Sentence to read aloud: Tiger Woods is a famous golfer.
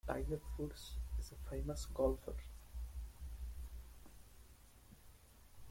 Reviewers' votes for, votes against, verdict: 1, 2, rejected